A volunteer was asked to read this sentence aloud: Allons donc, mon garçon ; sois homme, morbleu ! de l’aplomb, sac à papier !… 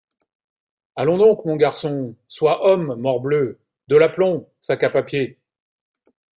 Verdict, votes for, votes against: accepted, 2, 0